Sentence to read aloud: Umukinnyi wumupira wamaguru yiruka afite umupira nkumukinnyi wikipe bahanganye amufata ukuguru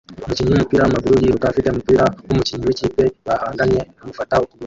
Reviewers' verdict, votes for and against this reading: rejected, 0, 2